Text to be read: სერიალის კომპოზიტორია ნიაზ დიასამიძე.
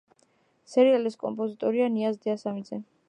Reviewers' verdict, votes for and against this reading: accepted, 2, 1